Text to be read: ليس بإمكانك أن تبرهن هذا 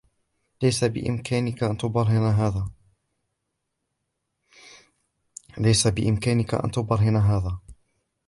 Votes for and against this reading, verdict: 2, 0, accepted